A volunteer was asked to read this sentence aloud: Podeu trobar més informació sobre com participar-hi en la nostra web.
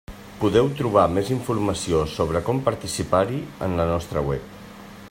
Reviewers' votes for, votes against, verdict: 1, 2, rejected